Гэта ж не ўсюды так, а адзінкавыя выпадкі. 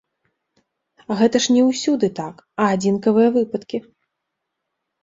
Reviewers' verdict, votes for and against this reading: accepted, 2, 1